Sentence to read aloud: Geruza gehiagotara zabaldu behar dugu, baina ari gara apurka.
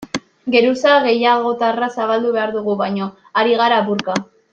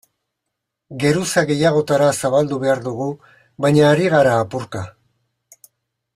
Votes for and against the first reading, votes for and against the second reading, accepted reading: 0, 2, 2, 0, second